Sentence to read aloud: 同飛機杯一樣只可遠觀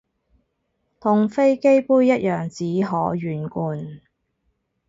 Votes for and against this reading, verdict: 4, 0, accepted